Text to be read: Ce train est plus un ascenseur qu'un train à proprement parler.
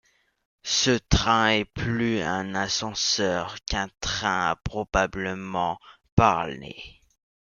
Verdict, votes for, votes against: rejected, 1, 2